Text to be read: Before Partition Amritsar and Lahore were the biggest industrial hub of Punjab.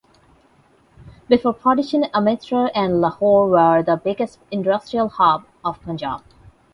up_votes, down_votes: 0, 8